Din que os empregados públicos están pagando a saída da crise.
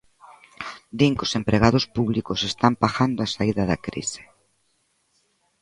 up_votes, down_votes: 2, 0